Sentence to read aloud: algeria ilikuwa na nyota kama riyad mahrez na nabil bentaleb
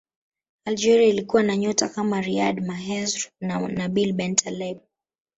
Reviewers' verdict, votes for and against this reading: rejected, 1, 2